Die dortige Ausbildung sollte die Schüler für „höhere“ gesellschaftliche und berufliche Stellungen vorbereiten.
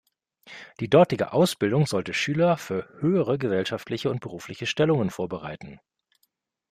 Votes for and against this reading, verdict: 1, 2, rejected